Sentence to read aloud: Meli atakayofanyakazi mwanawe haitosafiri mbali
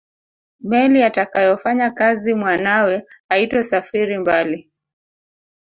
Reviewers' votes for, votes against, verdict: 1, 2, rejected